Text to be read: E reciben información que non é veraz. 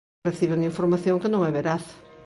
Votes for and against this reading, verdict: 0, 2, rejected